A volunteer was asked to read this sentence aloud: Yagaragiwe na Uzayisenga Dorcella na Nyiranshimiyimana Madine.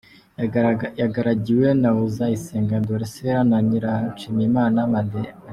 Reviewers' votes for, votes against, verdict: 0, 2, rejected